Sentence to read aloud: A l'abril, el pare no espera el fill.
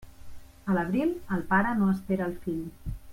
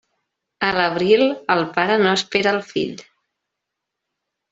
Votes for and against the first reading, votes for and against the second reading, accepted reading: 3, 1, 0, 2, first